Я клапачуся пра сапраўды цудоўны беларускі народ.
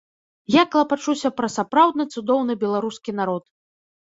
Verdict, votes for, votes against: rejected, 1, 2